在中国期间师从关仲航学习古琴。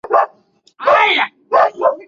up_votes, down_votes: 1, 2